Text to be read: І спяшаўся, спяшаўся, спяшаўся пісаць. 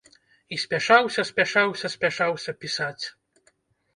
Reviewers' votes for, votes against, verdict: 2, 0, accepted